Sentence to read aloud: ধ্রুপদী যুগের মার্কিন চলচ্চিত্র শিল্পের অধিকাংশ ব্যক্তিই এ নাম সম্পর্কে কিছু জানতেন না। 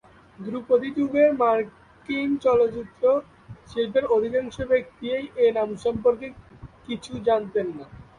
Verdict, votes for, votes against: rejected, 1, 2